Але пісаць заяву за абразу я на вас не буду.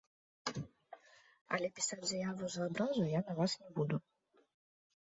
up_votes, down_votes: 1, 2